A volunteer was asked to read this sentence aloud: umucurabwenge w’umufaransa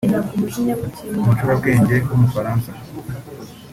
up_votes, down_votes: 2, 0